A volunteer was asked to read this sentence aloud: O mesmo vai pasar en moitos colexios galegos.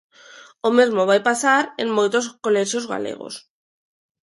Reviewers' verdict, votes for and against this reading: accepted, 2, 0